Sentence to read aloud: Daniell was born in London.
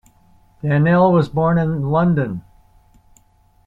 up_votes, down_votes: 2, 0